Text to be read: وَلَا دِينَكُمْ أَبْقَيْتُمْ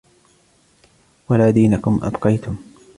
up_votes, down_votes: 2, 0